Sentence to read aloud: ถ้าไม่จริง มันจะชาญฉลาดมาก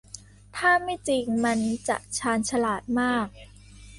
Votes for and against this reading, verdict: 2, 0, accepted